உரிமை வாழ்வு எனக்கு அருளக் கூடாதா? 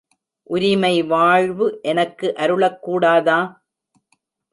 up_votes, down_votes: 2, 0